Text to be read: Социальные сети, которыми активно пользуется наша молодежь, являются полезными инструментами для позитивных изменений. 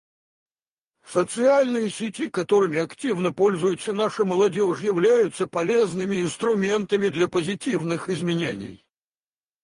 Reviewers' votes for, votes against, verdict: 2, 2, rejected